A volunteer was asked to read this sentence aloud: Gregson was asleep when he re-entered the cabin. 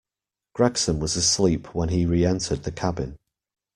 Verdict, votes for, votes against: accepted, 2, 0